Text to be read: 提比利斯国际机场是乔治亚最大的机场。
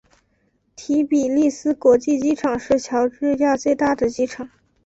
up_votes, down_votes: 2, 0